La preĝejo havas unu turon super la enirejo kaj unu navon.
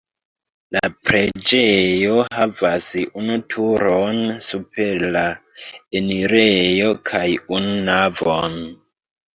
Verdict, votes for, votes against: rejected, 0, 2